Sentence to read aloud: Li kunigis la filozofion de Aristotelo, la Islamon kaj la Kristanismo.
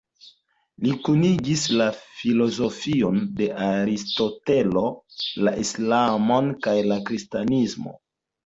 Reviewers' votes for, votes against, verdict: 1, 2, rejected